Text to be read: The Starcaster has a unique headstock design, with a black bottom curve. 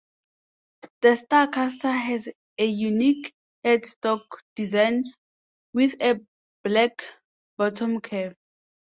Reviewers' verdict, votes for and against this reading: accepted, 2, 1